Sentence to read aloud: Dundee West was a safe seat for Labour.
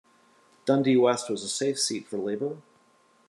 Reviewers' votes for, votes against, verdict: 2, 0, accepted